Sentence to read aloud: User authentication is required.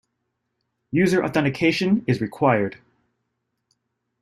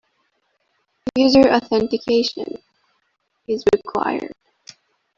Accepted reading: first